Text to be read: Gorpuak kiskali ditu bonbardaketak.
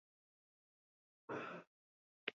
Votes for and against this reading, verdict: 2, 0, accepted